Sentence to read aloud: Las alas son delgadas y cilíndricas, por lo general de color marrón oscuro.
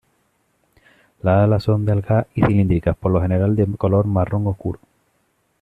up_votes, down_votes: 0, 2